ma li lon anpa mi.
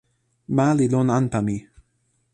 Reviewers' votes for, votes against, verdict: 2, 0, accepted